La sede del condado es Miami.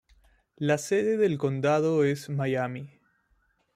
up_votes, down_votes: 3, 0